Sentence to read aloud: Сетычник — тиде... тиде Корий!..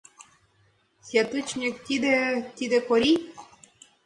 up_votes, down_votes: 1, 3